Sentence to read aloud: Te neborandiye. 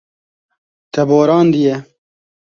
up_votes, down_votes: 0, 2